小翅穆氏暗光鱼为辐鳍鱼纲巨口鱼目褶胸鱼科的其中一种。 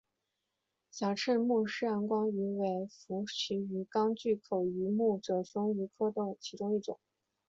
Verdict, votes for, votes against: rejected, 0, 2